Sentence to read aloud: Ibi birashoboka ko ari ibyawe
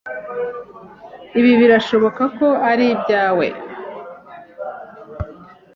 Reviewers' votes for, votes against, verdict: 2, 0, accepted